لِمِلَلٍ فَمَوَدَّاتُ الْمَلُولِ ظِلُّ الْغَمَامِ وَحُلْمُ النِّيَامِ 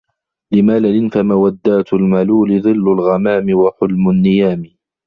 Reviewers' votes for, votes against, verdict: 2, 0, accepted